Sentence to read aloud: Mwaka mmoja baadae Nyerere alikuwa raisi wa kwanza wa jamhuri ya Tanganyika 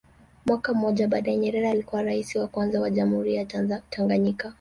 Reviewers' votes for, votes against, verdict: 1, 2, rejected